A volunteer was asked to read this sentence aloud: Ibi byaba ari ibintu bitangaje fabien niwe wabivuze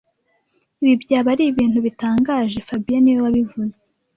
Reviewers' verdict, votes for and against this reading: accepted, 2, 0